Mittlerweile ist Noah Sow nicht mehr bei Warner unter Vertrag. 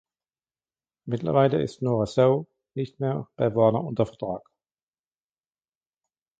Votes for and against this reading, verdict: 2, 0, accepted